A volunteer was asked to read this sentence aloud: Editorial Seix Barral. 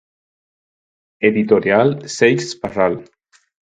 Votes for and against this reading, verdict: 4, 0, accepted